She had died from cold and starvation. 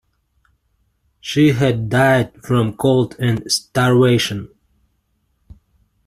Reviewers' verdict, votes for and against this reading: accepted, 2, 0